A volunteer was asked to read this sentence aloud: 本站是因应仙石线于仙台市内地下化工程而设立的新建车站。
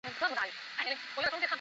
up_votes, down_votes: 0, 2